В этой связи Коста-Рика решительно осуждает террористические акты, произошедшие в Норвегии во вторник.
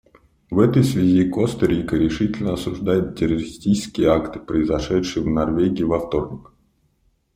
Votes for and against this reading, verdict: 2, 0, accepted